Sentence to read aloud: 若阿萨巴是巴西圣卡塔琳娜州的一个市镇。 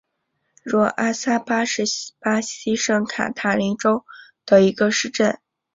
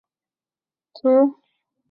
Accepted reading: first